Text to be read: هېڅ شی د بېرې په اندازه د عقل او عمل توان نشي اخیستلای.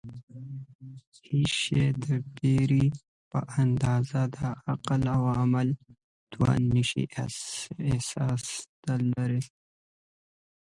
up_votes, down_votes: 0, 2